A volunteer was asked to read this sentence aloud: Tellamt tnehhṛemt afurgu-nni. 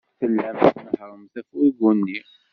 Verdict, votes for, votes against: rejected, 1, 2